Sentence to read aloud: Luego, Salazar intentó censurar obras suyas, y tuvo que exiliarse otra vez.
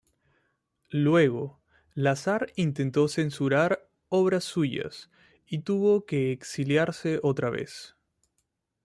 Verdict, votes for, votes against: rejected, 0, 2